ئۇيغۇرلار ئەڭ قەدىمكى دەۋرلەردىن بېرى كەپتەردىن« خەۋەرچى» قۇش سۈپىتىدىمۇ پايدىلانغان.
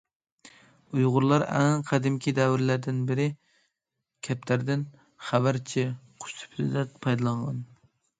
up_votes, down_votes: 0, 2